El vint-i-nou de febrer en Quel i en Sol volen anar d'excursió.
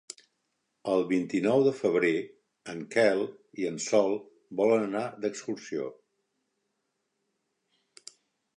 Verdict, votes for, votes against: accepted, 3, 0